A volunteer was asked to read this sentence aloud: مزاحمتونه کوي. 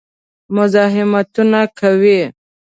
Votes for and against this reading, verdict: 3, 0, accepted